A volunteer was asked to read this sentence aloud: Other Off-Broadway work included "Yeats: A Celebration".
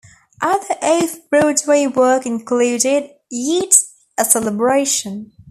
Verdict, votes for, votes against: accepted, 2, 0